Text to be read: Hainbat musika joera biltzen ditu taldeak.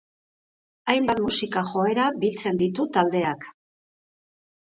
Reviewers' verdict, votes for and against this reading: accepted, 2, 0